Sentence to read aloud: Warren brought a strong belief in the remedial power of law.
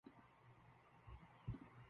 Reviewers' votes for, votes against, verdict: 0, 2, rejected